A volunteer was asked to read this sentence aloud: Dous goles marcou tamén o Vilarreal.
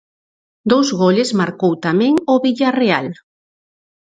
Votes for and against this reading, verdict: 0, 4, rejected